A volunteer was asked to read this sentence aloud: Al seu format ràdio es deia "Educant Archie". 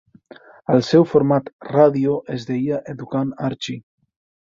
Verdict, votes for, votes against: accepted, 4, 0